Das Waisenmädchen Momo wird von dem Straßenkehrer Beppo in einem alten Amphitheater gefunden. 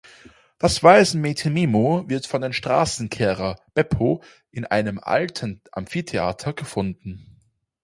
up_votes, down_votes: 0, 4